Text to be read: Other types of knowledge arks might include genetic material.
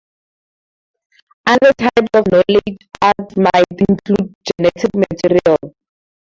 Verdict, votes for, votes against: rejected, 0, 4